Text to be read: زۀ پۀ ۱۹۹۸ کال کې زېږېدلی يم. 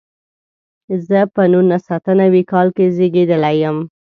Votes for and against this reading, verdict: 0, 2, rejected